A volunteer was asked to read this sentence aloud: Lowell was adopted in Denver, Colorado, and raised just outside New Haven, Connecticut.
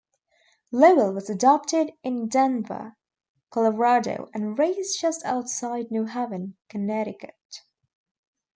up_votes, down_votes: 1, 2